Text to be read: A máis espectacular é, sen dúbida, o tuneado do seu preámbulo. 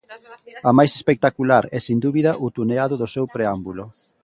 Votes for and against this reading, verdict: 1, 2, rejected